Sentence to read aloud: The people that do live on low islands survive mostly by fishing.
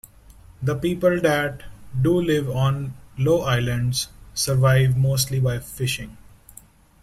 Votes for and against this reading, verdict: 2, 0, accepted